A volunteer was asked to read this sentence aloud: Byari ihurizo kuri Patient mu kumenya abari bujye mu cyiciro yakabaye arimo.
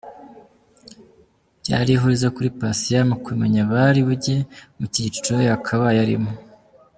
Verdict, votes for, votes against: accepted, 2, 0